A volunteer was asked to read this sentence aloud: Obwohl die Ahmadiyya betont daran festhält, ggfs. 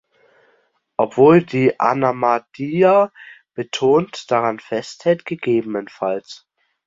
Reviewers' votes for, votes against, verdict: 1, 2, rejected